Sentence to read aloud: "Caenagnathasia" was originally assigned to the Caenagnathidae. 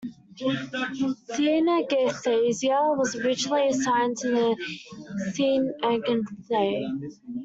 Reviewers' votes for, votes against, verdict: 0, 2, rejected